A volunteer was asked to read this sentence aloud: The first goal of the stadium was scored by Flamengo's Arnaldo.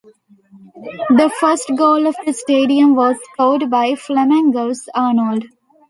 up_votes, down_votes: 1, 2